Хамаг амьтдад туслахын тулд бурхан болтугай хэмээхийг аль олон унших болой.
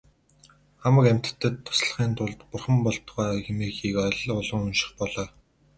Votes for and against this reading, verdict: 0, 2, rejected